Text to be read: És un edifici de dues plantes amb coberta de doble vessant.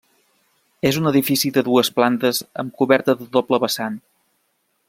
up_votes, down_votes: 3, 0